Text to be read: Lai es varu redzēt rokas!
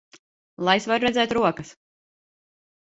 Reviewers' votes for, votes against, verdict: 0, 2, rejected